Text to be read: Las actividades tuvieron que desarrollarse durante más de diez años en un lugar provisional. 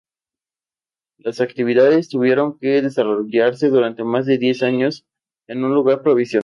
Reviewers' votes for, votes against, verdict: 0, 2, rejected